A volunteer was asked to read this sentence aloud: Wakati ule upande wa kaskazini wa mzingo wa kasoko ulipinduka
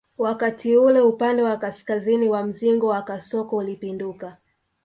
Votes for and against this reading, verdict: 2, 1, accepted